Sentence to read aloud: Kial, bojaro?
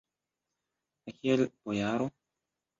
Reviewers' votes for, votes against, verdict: 1, 2, rejected